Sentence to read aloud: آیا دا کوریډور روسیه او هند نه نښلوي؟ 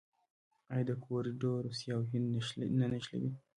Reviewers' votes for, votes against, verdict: 0, 2, rejected